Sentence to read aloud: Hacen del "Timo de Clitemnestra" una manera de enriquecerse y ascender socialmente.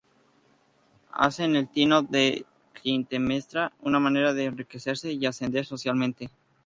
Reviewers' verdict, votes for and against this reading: rejected, 0, 2